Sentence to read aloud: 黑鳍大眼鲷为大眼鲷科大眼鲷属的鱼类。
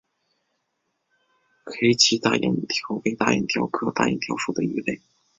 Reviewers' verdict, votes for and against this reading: accepted, 2, 0